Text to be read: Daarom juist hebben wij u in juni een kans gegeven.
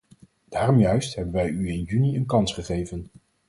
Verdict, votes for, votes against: accepted, 4, 0